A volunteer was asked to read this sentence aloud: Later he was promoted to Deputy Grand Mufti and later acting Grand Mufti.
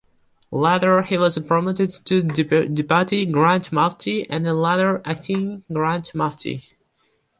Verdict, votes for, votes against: rejected, 0, 2